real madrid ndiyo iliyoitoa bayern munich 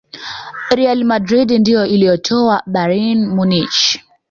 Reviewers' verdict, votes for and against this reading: rejected, 1, 2